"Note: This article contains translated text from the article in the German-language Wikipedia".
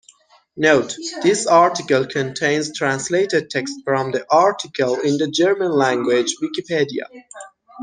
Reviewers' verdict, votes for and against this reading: accepted, 2, 0